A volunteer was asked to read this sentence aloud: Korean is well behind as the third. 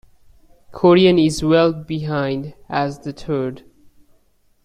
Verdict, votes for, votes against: accepted, 2, 1